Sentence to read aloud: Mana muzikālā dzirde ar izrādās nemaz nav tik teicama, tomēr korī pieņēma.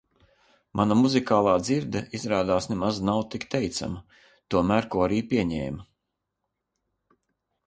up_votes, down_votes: 0, 2